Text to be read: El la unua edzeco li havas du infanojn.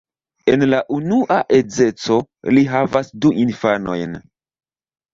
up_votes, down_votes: 1, 2